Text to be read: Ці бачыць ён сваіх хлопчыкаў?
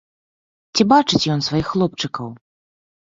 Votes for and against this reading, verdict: 2, 0, accepted